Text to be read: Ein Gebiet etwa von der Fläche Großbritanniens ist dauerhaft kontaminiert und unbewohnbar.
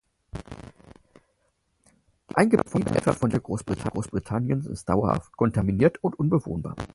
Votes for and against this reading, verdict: 0, 4, rejected